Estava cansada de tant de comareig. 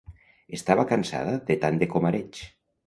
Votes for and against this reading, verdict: 2, 0, accepted